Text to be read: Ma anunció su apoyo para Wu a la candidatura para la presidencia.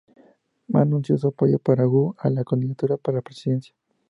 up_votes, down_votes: 0, 2